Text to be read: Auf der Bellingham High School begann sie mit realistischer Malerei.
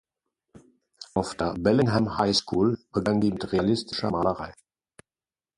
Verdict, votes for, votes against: rejected, 0, 2